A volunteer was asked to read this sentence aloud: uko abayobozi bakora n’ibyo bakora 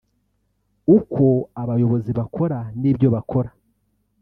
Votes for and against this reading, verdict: 0, 2, rejected